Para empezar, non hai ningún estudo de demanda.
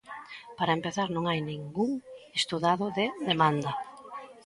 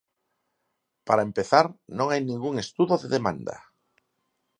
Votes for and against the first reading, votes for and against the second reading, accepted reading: 1, 2, 4, 0, second